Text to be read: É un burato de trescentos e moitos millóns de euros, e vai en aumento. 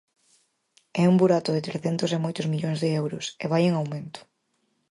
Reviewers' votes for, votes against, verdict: 4, 0, accepted